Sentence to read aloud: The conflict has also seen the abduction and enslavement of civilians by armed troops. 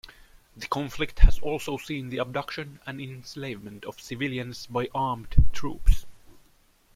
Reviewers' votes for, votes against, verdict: 2, 0, accepted